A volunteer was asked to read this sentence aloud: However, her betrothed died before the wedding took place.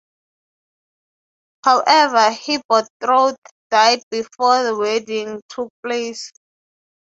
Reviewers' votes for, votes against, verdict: 9, 6, accepted